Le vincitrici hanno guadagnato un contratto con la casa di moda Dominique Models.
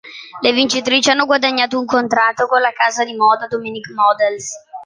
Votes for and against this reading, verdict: 2, 0, accepted